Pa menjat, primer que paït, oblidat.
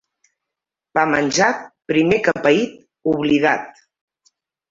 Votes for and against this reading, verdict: 2, 0, accepted